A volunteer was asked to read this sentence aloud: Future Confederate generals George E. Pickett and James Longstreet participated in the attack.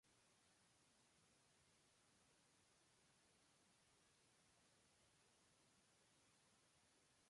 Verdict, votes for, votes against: rejected, 0, 2